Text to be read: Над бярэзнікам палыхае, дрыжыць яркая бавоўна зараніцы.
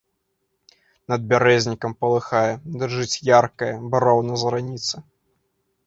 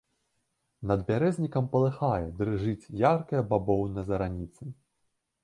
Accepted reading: second